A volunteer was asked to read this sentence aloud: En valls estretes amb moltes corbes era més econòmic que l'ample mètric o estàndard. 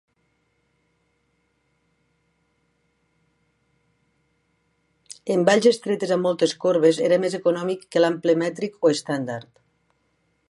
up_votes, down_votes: 4, 0